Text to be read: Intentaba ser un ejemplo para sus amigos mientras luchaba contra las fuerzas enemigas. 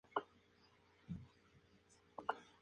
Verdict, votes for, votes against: rejected, 0, 2